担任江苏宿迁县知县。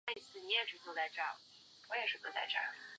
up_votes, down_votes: 0, 2